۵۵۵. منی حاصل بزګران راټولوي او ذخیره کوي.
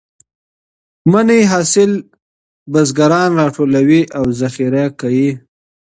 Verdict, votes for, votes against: rejected, 0, 2